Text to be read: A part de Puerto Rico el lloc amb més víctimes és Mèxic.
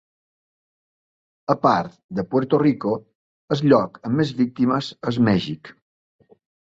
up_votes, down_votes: 1, 2